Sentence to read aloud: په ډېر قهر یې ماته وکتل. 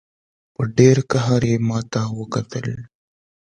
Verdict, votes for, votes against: accepted, 2, 0